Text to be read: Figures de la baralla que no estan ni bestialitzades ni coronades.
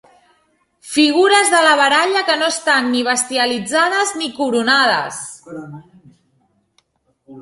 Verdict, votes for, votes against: accepted, 4, 0